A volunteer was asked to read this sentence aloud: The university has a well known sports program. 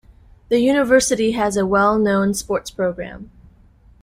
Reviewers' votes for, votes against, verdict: 2, 0, accepted